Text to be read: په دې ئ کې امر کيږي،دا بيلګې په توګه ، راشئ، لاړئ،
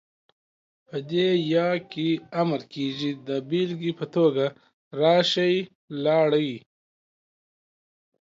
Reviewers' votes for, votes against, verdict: 2, 0, accepted